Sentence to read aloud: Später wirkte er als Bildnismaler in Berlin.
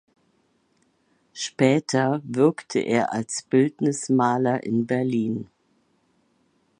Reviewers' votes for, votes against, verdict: 2, 0, accepted